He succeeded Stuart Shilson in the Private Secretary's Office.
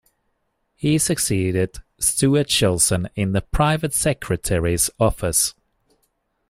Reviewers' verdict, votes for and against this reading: accepted, 2, 0